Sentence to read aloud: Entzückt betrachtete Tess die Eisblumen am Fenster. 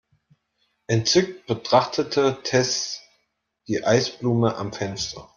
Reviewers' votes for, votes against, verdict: 1, 2, rejected